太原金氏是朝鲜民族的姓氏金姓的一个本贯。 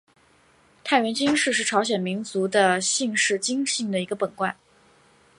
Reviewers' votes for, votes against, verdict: 2, 0, accepted